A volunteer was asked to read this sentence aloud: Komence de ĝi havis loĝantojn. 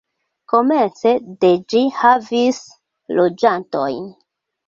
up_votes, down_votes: 2, 0